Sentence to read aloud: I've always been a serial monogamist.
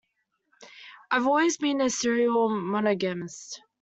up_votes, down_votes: 1, 2